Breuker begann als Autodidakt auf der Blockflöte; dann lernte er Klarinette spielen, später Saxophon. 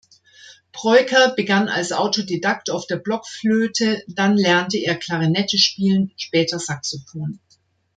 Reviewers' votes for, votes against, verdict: 2, 0, accepted